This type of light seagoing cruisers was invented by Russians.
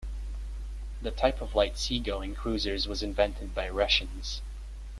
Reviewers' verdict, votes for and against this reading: rejected, 1, 2